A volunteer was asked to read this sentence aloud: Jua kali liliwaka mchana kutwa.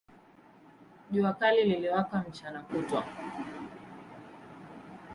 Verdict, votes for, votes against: accepted, 2, 1